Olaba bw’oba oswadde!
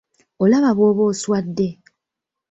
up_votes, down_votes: 2, 0